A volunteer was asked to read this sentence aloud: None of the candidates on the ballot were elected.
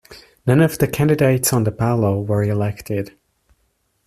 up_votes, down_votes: 0, 2